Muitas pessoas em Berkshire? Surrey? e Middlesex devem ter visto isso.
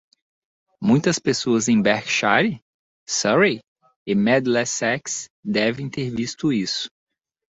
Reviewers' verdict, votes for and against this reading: rejected, 0, 2